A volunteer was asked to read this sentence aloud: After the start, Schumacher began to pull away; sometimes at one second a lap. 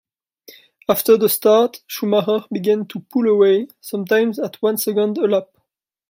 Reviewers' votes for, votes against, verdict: 1, 2, rejected